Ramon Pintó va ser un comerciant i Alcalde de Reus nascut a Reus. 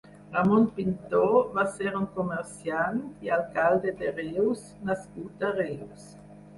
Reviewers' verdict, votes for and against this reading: rejected, 2, 4